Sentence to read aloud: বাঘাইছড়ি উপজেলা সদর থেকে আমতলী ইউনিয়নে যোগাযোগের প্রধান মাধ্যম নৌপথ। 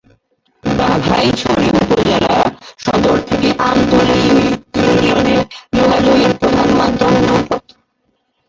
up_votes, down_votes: 2, 2